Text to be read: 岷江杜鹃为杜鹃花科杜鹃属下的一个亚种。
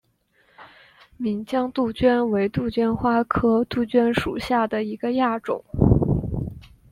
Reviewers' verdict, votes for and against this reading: accepted, 2, 0